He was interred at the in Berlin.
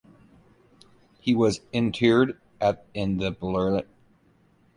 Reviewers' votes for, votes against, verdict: 0, 2, rejected